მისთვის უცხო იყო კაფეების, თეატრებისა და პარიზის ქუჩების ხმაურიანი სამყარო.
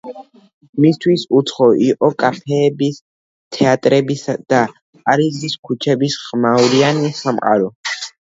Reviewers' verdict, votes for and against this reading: rejected, 1, 2